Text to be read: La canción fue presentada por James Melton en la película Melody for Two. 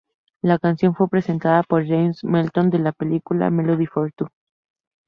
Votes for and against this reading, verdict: 0, 2, rejected